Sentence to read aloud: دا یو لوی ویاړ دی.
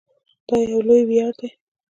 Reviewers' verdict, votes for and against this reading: rejected, 1, 2